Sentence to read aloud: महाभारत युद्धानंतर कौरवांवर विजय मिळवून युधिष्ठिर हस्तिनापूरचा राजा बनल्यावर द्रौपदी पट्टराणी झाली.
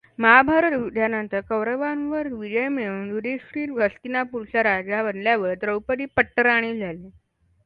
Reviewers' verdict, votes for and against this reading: accepted, 2, 1